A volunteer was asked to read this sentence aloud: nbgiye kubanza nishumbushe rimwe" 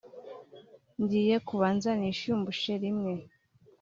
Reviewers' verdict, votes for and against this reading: rejected, 0, 2